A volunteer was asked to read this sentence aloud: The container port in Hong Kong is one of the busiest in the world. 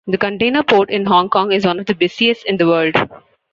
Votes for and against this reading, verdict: 2, 0, accepted